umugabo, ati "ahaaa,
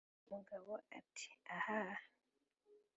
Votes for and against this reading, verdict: 3, 0, accepted